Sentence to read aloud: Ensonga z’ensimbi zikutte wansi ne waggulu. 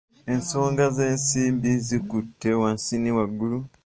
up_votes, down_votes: 1, 2